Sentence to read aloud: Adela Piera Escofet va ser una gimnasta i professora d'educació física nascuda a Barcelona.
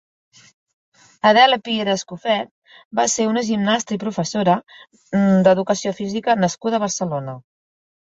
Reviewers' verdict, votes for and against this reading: rejected, 0, 2